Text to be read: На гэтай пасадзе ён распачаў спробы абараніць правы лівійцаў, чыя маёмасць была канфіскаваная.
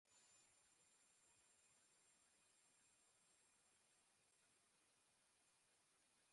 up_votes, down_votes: 0, 2